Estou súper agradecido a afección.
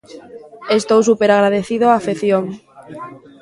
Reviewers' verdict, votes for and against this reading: rejected, 0, 2